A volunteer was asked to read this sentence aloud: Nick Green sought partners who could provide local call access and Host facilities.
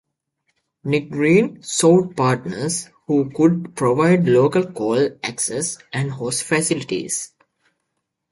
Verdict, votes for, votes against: accepted, 2, 0